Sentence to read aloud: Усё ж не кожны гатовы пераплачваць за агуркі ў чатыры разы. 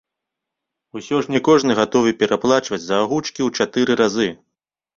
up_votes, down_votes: 1, 3